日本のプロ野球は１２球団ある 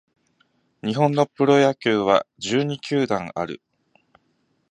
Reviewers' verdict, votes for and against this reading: rejected, 0, 2